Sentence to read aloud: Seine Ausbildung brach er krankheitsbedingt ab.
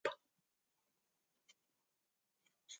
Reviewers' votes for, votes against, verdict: 0, 2, rejected